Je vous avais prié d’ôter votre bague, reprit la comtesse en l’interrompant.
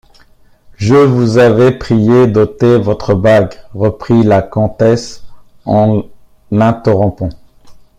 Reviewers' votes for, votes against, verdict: 2, 3, rejected